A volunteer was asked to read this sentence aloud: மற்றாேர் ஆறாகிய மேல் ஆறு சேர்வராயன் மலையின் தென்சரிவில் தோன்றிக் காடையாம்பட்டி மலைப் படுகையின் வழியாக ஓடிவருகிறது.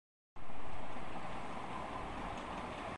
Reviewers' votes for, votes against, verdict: 1, 3, rejected